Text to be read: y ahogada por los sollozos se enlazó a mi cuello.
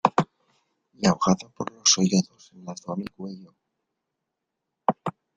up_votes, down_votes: 0, 2